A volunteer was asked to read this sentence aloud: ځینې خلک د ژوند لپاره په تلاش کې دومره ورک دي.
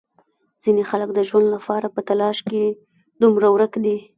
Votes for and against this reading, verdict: 1, 2, rejected